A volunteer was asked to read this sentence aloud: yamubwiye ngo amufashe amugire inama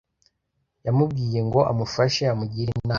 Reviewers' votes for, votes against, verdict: 2, 1, accepted